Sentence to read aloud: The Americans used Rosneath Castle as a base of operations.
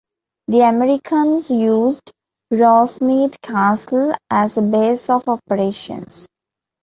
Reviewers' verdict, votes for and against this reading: accepted, 2, 0